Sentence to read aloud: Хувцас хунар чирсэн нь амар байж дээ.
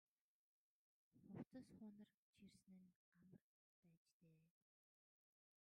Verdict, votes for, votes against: rejected, 0, 2